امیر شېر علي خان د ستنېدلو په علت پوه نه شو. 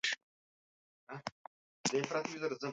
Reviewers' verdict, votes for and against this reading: rejected, 0, 2